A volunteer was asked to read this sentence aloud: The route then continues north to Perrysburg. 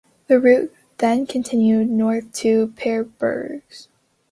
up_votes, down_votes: 0, 2